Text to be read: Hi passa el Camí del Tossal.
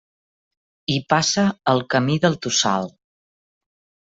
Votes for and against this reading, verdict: 2, 0, accepted